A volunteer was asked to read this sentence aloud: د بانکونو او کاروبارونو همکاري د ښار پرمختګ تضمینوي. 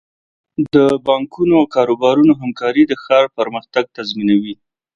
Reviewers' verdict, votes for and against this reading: accepted, 2, 0